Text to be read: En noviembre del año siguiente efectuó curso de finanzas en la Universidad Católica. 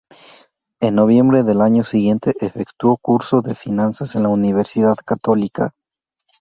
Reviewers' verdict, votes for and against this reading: rejected, 0, 2